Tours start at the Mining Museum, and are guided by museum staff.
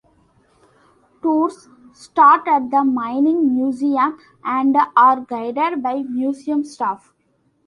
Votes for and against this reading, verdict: 2, 0, accepted